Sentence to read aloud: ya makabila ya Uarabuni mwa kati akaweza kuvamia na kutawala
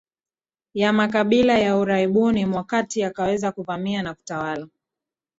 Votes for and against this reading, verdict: 3, 2, accepted